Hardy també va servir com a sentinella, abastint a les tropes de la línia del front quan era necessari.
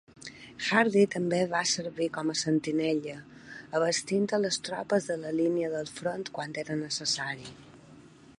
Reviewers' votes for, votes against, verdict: 4, 1, accepted